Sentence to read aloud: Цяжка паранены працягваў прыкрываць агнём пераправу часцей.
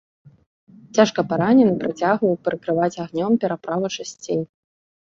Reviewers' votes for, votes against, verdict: 2, 0, accepted